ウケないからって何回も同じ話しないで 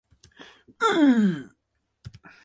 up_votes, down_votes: 0, 2